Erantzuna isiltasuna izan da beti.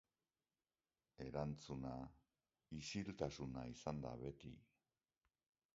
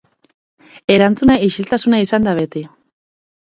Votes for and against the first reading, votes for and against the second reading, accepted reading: 1, 2, 6, 0, second